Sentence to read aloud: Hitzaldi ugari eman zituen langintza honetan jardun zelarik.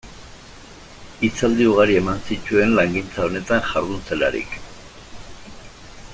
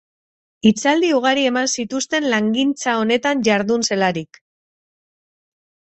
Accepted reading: first